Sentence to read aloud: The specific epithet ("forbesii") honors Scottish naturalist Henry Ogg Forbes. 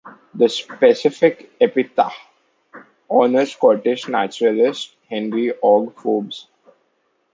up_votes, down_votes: 0, 2